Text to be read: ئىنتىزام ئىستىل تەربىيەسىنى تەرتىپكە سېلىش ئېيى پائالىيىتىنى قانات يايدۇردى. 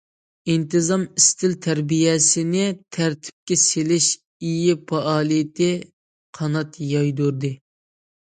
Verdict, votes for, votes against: rejected, 0, 2